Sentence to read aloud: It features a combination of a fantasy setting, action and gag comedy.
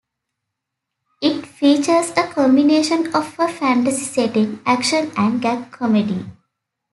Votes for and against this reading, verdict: 2, 0, accepted